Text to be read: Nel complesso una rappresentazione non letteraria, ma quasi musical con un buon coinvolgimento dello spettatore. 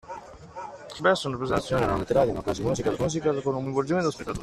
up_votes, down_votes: 0, 2